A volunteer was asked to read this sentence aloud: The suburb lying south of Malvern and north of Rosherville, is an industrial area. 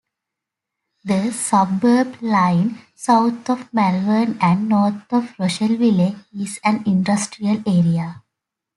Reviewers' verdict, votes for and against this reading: rejected, 0, 2